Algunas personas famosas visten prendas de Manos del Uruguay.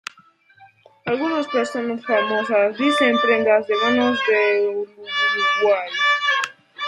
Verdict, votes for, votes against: rejected, 0, 2